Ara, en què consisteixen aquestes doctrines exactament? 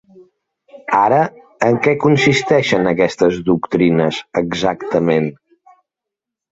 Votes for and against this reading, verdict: 3, 0, accepted